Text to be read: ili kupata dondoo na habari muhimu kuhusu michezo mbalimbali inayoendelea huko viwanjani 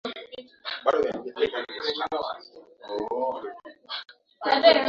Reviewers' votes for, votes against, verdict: 0, 2, rejected